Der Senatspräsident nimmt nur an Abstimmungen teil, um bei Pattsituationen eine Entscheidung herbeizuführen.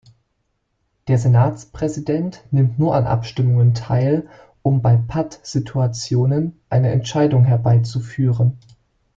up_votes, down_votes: 2, 0